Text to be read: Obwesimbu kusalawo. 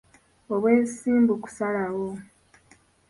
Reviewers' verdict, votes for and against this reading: accepted, 2, 0